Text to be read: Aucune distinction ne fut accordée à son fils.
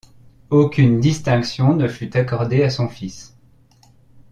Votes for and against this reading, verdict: 2, 0, accepted